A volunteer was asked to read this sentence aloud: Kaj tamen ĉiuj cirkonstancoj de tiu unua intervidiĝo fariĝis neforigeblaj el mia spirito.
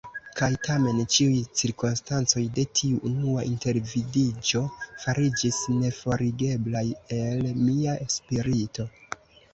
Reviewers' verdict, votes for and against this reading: accepted, 2, 0